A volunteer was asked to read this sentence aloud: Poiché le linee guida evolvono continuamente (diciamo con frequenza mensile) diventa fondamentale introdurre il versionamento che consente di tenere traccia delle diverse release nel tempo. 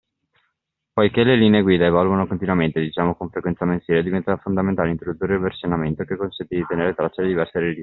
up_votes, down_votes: 0, 2